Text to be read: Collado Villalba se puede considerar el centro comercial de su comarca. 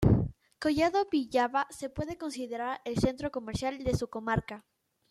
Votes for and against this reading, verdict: 0, 2, rejected